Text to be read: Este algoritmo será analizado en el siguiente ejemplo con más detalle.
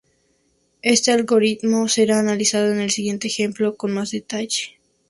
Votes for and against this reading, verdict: 2, 0, accepted